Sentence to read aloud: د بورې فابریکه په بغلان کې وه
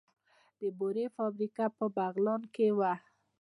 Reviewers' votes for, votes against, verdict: 2, 0, accepted